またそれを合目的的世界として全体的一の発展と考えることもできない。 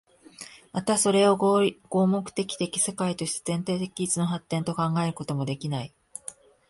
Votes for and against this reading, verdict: 1, 2, rejected